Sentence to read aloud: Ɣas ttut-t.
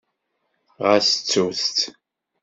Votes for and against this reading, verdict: 2, 0, accepted